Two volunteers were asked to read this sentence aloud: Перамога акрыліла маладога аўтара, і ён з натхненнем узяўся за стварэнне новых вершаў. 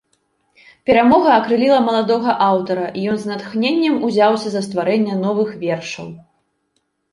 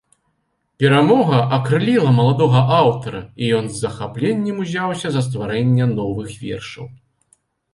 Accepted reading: first